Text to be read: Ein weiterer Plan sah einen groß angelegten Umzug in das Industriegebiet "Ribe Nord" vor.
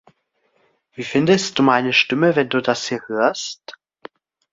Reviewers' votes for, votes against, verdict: 0, 2, rejected